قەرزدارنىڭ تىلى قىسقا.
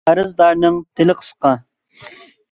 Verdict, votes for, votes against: accepted, 2, 0